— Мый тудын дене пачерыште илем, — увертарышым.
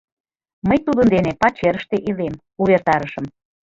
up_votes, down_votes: 3, 0